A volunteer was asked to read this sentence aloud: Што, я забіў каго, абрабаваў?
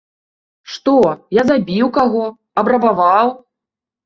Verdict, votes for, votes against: accepted, 2, 0